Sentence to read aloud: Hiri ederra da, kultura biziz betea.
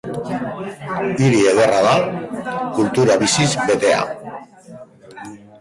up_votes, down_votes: 1, 3